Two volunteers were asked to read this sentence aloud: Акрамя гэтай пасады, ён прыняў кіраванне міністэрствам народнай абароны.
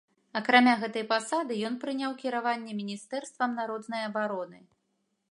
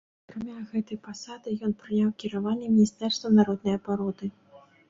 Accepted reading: first